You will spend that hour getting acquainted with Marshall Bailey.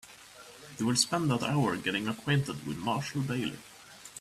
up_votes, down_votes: 3, 0